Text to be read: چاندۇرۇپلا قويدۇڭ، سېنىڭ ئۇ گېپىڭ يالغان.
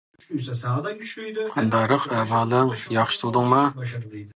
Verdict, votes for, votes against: rejected, 0, 2